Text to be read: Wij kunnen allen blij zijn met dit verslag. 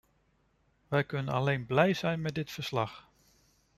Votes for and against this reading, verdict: 0, 2, rejected